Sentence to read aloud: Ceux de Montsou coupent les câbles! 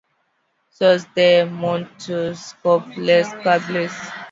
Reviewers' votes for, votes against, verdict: 1, 2, rejected